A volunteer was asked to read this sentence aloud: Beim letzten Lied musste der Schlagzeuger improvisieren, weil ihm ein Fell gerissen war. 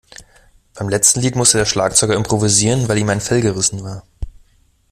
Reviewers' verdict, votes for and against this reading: accepted, 2, 0